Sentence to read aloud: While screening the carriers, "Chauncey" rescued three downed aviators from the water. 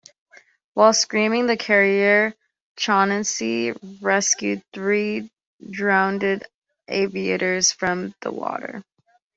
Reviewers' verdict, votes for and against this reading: rejected, 1, 2